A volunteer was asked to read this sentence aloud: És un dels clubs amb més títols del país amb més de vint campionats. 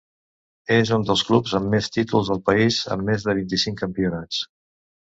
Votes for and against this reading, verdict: 0, 2, rejected